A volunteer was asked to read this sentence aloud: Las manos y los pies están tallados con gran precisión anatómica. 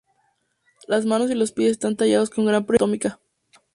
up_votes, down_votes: 2, 2